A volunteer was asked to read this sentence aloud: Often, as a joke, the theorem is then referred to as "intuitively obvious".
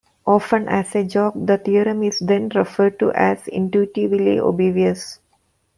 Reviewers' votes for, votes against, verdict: 1, 2, rejected